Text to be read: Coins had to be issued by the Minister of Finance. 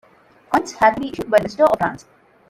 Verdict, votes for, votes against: rejected, 0, 2